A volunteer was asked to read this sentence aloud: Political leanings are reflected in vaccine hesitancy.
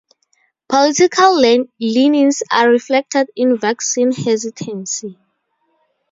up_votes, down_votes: 2, 0